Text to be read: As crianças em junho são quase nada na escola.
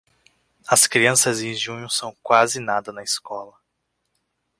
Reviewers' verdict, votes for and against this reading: accepted, 2, 0